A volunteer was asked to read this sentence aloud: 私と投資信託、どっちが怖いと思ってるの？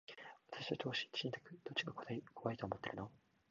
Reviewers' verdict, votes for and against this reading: rejected, 0, 2